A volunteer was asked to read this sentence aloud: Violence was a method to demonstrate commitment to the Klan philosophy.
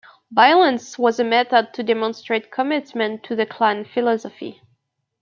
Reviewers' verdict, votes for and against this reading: accepted, 2, 0